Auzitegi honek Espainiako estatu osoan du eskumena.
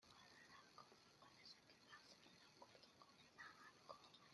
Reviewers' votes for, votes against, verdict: 0, 2, rejected